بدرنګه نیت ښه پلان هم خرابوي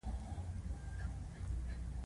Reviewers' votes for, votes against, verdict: 2, 1, accepted